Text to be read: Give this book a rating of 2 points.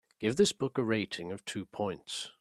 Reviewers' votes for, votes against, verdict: 0, 2, rejected